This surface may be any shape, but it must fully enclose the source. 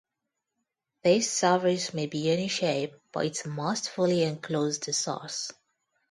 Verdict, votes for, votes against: rejected, 0, 2